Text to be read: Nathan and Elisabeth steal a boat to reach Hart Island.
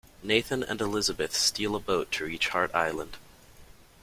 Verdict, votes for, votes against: accepted, 2, 0